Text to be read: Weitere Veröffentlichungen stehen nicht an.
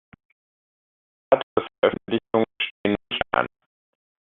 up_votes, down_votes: 0, 2